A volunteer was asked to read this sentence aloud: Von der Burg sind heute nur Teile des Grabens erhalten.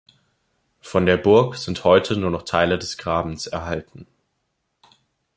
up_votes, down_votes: 1, 2